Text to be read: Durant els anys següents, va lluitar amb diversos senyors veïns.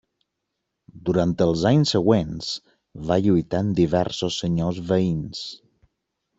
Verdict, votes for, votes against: rejected, 1, 2